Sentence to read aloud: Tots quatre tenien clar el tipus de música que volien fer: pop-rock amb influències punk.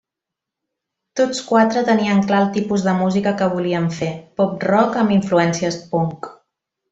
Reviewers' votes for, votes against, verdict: 2, 0, accepted